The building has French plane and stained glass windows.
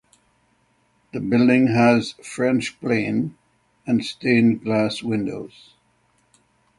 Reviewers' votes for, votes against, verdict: 6, 0, accepted